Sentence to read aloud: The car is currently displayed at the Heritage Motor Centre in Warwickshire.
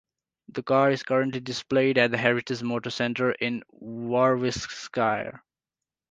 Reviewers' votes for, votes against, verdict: 2, 0, accepted